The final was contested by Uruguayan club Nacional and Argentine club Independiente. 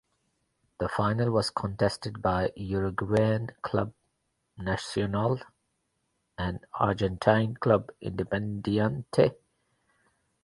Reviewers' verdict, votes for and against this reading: rejected, 0, 2